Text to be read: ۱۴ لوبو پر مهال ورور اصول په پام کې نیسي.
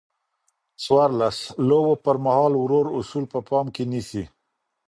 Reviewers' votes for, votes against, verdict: 0, 2, rejected